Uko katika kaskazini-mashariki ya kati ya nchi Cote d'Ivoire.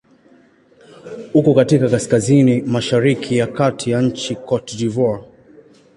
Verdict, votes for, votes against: accepted, 2, 0